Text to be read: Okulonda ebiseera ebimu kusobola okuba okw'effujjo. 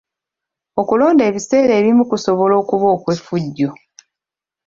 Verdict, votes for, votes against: accepted, 2, 0